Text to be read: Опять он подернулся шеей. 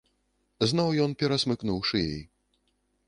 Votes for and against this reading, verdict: 0, 2, rejected